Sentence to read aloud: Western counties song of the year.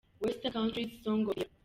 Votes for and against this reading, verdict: 2, 1, accepted